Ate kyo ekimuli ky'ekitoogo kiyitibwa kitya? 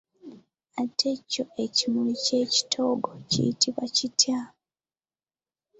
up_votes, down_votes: 1, 2